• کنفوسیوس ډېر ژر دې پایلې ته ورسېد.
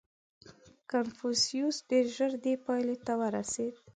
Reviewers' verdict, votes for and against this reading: accepted, 2, 1